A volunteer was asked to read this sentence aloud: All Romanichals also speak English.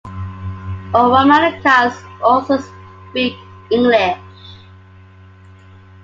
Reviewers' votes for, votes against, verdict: 2, 1, accepted